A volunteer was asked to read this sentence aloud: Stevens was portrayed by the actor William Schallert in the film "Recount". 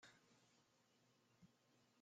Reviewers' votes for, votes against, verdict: 0, 2, rejected